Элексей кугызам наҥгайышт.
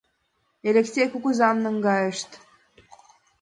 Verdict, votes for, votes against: accepted, 2, 0